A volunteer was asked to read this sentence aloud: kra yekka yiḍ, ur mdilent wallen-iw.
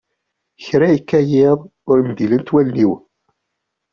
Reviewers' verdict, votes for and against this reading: accepted, 2, 0